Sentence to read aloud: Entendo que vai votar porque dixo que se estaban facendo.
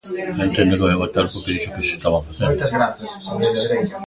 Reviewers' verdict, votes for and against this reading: rejected, 0, 2